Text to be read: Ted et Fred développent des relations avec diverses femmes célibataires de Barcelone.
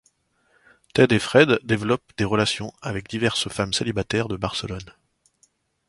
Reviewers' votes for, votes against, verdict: 2, 0, accepted